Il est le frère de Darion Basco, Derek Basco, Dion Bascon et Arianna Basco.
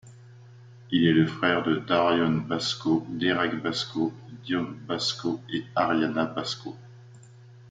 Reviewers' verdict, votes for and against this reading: accepted, 2, 1